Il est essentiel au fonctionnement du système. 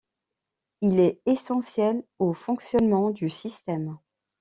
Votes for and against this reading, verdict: 2, 0, accepted